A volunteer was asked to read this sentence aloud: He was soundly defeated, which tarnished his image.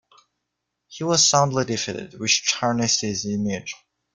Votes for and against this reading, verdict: 2, 0, accepted